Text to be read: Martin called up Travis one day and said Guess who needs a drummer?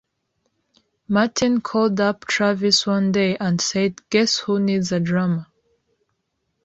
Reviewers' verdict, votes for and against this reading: accepted, 2, 0